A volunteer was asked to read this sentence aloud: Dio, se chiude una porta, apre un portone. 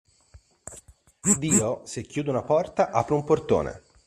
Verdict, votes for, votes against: accepted, 2, 0